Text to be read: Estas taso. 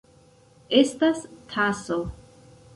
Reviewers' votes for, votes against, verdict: 1, 2, rejected